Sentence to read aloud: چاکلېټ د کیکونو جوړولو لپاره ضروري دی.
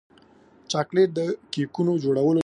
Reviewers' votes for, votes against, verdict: 0, 2, rejected